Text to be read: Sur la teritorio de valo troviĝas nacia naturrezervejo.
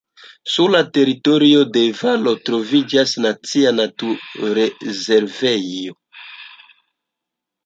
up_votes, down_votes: 1, 2